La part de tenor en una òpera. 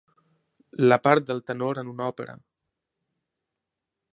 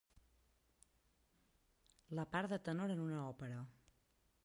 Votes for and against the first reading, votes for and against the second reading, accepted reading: 1, 2, 2, 1, second